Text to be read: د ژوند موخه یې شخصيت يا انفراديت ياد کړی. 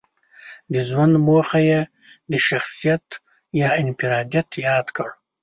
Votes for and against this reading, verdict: 0, 2, rejected